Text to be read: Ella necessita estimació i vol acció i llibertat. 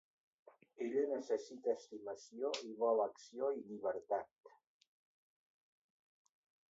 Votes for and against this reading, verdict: 1, 2, rejected